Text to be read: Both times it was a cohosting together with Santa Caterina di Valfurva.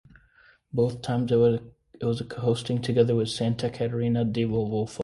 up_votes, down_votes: 0, 2